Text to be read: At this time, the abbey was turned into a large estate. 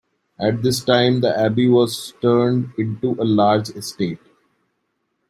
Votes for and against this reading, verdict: 2, 0, accepted